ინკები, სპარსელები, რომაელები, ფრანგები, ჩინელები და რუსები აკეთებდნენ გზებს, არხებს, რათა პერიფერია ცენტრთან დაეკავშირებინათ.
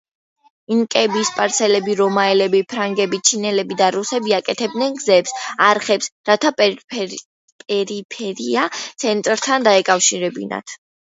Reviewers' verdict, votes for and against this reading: rejected, 1, 2